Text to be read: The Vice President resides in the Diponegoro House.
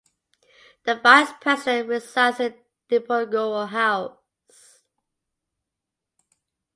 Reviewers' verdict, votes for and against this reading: accepted, 2, 1